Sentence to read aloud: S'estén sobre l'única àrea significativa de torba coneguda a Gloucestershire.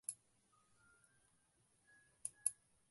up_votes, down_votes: 0, 2